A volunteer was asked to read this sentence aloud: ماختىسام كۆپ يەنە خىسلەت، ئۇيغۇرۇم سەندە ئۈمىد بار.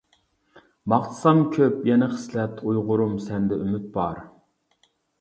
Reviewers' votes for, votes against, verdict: 2, 0, accepted